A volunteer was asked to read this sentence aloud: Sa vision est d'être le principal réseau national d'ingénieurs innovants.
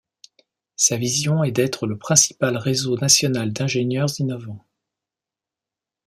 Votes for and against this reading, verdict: 2, 0, accepted